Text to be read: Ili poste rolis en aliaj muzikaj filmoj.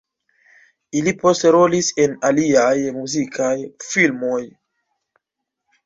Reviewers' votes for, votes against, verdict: 2, 0, accepted